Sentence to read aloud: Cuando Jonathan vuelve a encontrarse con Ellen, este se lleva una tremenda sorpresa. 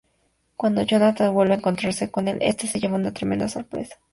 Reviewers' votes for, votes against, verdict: 2, 0, accepted